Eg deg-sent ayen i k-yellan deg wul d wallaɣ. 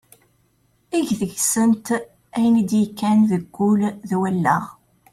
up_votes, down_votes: 0, 2